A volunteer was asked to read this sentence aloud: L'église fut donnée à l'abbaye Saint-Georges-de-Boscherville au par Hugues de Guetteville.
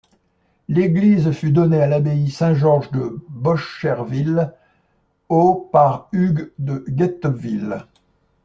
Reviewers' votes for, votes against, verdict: 1, 2, rejected